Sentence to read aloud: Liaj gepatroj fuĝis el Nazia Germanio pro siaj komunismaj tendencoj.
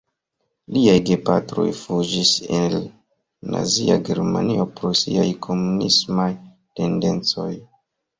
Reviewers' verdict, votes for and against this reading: accepted, 2, 0